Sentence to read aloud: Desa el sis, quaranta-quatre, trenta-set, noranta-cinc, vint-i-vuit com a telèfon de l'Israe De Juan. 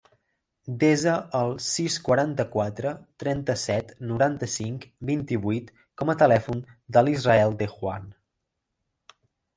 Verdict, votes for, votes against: rejected, 0, 2